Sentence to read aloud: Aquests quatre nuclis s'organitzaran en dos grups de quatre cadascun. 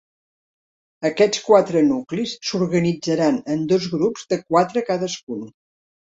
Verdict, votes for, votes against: accepted, 3, 0